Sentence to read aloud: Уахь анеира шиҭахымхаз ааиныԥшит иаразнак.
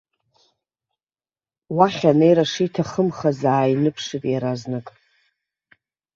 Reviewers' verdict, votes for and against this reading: accepted, 2, 0